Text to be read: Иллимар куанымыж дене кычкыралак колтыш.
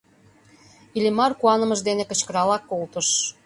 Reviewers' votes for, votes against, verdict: 2, 0, accepted